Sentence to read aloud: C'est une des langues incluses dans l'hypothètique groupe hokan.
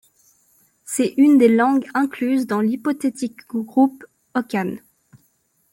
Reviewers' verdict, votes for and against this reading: accepted, 2, 0